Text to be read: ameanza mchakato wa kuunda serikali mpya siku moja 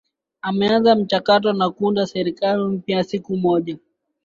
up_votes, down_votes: 0, 3